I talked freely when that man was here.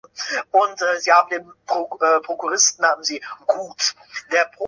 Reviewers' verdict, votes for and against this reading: rejected, 0, 2